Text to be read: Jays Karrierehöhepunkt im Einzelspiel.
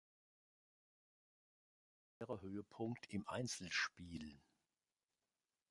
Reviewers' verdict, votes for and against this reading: rejected, 1, 2